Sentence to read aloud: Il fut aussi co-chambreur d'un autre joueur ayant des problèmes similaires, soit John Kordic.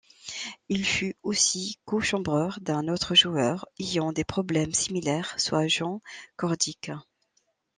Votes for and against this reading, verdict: 1, 2, rejected